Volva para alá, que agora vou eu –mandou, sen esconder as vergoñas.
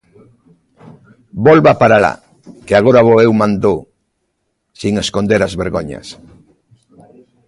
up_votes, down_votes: 2, 1